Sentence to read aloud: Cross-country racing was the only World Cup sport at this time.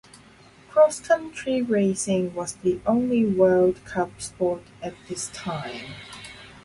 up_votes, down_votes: 2, 0